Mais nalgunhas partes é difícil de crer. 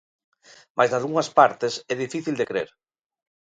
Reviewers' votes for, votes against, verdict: 2, 0, accepted